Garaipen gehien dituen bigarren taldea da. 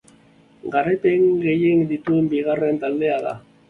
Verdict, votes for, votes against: accepted, 3, 0